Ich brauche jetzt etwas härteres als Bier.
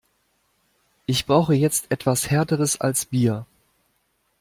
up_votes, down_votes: 2, 0